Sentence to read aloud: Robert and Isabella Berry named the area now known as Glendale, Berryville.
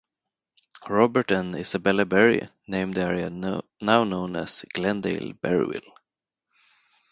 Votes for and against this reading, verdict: 0, 4, rejected